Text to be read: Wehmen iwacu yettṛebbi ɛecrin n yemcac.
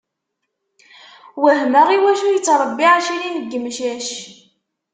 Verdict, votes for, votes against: rejected, 1, 2